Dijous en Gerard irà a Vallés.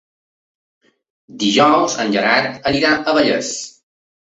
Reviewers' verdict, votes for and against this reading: rejected, 1, 2